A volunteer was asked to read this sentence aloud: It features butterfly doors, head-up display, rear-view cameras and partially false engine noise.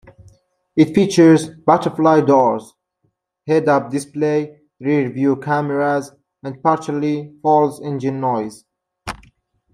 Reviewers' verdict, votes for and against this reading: accepted, 2, 0